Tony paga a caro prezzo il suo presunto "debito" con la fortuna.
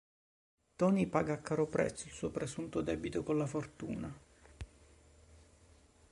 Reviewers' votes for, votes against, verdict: 2, 0, accepted